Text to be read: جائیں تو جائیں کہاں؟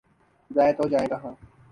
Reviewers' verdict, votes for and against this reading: rejected, 1, 2